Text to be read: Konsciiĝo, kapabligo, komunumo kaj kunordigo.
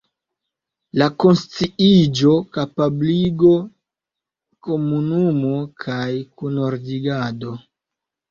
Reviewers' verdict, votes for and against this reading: rejected, 1, 2